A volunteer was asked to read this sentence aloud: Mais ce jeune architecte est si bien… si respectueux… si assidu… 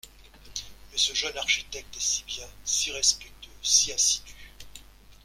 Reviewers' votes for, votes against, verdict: 1, 2, rejected